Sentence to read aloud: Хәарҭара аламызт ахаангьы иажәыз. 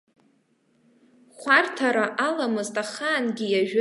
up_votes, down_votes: 1, 2